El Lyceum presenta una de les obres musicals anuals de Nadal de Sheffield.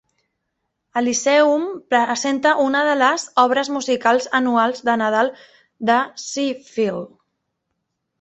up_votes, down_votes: 2, 1